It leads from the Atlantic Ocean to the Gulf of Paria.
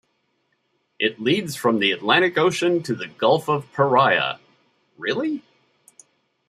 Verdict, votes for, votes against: rejected, 0, 2